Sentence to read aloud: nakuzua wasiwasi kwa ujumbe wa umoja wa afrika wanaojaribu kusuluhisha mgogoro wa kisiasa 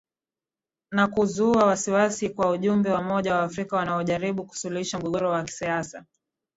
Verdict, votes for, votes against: accepted, 6, 3